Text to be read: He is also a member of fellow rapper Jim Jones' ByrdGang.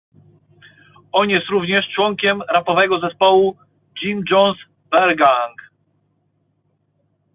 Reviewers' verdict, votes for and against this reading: rejected, 0, 2